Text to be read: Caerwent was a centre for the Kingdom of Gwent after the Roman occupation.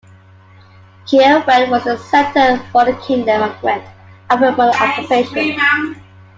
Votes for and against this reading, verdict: 1, 2, rejected